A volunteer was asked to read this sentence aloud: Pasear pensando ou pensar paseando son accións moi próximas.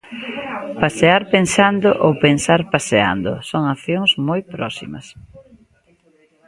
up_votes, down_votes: 2, 0